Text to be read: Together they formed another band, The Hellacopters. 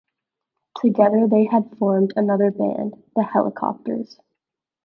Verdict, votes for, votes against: rejected, 0, 2